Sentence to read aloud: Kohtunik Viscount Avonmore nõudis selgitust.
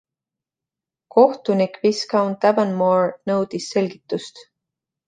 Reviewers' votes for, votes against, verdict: 2, 0, accepted